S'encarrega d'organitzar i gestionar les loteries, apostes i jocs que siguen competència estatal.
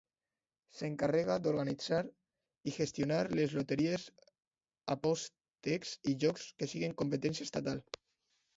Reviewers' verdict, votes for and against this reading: rejected, 1, 2